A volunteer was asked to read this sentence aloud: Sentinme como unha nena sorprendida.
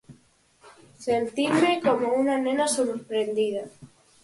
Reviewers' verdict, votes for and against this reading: accepted, 4, 0